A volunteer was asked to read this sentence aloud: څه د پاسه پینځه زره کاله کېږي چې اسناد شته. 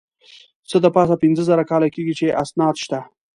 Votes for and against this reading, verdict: 2, 0, accepted